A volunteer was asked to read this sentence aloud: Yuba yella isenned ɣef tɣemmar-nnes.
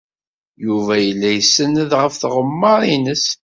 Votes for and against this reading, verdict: 2, 0, accepted